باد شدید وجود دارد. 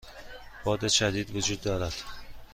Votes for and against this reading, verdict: 2, 0, accepted